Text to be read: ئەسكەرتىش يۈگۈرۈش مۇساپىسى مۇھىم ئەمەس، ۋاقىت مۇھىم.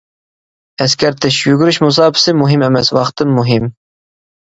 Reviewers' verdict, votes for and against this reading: rejected, 0, 2